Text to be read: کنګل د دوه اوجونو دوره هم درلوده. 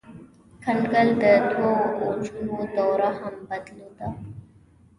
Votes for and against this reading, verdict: 2, 0, accepted